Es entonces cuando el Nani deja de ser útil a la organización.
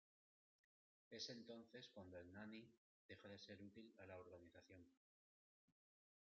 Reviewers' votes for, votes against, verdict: 2, 1, accepted